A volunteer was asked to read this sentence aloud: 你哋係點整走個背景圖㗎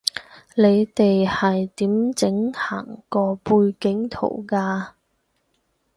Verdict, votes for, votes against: rejected, 0, 6